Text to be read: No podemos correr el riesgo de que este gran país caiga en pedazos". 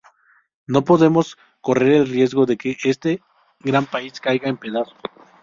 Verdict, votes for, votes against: accepted, 2, 0